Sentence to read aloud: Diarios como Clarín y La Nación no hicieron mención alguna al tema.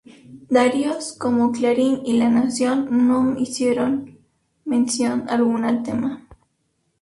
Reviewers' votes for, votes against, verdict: 2, 2, rejected